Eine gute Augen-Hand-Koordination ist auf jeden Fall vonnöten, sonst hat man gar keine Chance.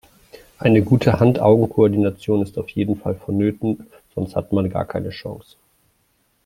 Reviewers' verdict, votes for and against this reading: rejected, 1, 2